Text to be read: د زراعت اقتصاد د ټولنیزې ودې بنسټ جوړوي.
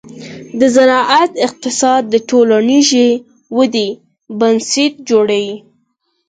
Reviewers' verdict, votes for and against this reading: accepted, 4, 0